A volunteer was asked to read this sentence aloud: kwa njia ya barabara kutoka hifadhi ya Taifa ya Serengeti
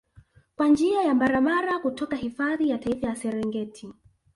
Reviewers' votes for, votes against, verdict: 1, 2, rejected